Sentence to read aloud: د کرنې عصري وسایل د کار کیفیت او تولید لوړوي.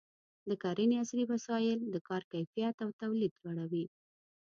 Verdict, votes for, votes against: rejected, 1, 2